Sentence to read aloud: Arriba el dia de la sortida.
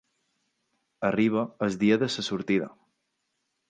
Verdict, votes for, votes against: accepted, 2, 0